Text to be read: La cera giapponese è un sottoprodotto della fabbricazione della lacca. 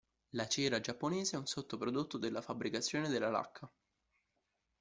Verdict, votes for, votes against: accepted, 2, 0